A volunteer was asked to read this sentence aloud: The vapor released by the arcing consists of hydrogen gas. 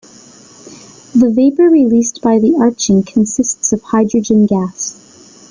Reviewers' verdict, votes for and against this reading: rejected, 1, 2